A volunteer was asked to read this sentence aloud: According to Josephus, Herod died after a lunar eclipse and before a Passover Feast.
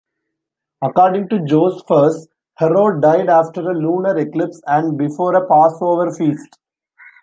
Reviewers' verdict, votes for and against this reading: rejected, 1, 2